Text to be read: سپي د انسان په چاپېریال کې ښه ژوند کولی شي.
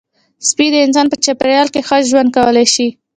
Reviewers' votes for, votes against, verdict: 1, 2, rejected